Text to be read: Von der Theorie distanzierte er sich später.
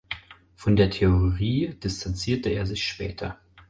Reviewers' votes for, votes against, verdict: 4, 0, accepted